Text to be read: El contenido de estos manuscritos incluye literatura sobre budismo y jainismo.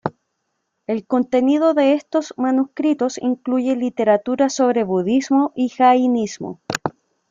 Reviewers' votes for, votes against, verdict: 1, 2, rejected